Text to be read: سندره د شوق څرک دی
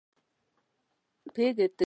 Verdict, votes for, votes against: rejected, 1, 3